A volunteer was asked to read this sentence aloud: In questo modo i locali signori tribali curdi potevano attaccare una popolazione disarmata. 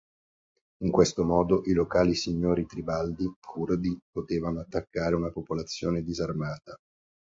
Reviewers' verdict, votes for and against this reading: rejected, 0, 2